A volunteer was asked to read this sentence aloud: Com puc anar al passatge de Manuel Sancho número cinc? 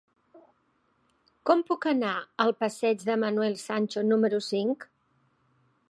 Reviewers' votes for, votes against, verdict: 1, 2, rejected